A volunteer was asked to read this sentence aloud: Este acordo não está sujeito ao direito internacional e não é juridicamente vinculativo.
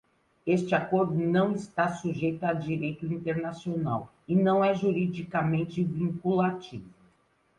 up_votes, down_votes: 1, 2